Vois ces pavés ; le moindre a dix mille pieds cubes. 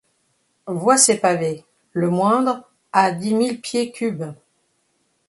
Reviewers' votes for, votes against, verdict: 2, 0, accepted